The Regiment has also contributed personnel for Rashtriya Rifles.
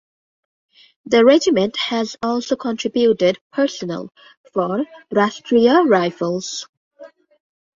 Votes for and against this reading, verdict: 1, 2, rejected